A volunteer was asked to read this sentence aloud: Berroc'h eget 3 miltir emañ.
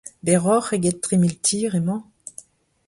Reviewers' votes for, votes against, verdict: 0, 2, rejected